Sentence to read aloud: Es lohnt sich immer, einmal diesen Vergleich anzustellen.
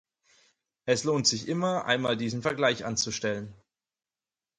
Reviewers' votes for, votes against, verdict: 4, 0, accepted